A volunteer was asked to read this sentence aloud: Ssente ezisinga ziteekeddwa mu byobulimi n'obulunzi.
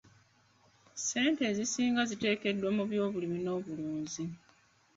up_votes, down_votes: 0, 2